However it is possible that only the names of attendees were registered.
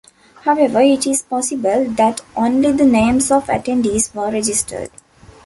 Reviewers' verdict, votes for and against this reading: accepted, 2, 0